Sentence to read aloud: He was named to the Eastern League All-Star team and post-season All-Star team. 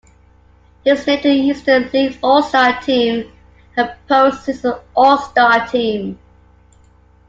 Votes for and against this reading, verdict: 0, 2, rejected